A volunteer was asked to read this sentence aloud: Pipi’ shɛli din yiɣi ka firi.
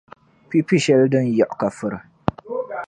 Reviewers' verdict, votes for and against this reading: rejected, 0, 2